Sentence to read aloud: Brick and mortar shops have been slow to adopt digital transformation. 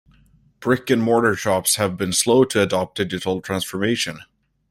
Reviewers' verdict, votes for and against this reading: accepted, 2, 1